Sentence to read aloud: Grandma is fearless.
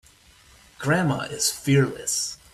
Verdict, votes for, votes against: accepted, 2, 0